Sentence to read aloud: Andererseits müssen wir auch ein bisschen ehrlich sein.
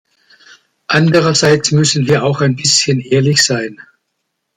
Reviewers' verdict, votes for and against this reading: accepted, 2, 0